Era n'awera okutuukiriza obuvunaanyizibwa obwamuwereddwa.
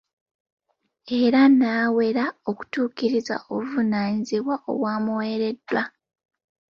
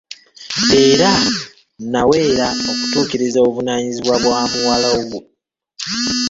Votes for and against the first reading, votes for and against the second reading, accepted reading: 2, 0, 1, 2, first